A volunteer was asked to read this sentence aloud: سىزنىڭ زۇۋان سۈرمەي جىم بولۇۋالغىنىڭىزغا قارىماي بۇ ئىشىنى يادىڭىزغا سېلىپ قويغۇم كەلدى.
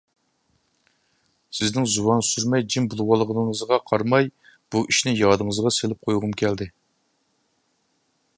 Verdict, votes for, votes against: accepted, 2, 0